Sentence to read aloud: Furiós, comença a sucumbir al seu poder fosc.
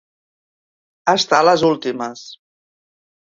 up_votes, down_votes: 0, 2